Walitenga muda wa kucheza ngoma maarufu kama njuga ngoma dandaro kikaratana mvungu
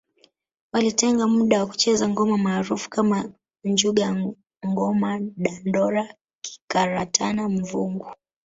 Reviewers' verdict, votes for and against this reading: accepted, 2, 0